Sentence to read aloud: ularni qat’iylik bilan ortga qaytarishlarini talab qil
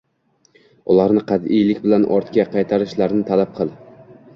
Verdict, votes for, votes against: accepted, 2, 1